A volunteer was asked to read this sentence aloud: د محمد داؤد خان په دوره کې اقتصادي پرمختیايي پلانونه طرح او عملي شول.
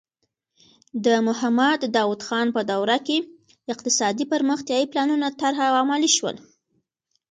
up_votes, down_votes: 2, 0